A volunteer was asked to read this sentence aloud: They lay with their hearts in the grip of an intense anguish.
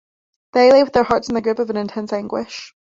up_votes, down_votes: 0, 2